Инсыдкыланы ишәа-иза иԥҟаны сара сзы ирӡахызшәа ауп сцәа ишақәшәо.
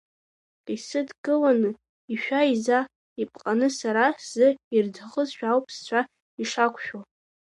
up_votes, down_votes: 1, 2